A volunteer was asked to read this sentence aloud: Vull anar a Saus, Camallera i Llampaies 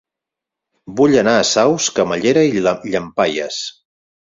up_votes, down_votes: 2, 6